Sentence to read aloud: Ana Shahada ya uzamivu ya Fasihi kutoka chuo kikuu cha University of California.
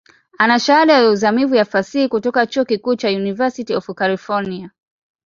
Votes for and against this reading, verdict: 2, 0, accepted